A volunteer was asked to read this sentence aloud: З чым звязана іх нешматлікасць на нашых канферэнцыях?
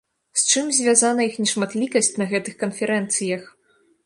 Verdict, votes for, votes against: rejected, 0, 2